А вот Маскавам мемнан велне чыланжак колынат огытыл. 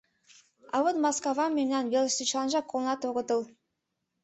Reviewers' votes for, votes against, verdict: 1, 2, rejected